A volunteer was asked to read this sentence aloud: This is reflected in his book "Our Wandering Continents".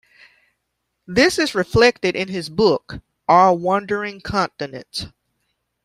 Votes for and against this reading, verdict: 2, 0, accepted